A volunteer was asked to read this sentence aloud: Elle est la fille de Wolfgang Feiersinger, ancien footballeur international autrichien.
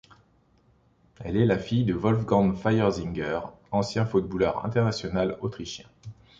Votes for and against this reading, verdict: 2, 0, accepted